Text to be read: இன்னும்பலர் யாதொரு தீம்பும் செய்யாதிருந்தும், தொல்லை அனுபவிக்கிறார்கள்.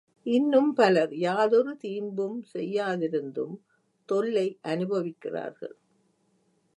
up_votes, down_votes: 0, 2